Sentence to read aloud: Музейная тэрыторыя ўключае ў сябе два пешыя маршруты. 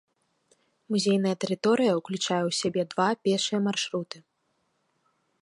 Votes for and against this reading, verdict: 2, 1, accepted